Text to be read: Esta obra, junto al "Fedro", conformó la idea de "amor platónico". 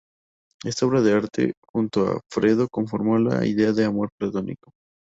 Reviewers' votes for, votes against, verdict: 4, 2, accepted